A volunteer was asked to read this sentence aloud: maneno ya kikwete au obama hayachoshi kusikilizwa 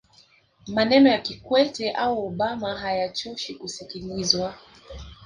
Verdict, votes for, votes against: rejected, 1, 2